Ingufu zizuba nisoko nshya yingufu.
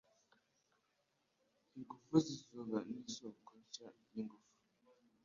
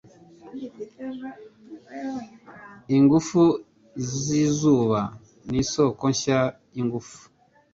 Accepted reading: second